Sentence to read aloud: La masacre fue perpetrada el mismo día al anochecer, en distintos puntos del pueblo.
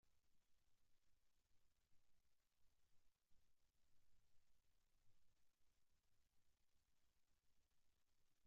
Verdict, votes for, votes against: rejected, 0, 2